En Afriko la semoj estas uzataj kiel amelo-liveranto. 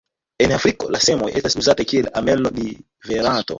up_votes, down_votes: 1, 2